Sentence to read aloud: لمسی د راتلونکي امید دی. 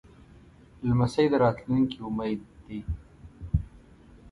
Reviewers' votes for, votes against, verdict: 1, 2, rejected